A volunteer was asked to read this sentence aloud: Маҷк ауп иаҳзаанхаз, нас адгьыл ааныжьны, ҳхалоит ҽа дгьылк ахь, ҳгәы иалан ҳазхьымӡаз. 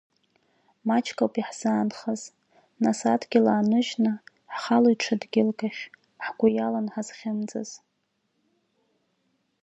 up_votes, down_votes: 3, 0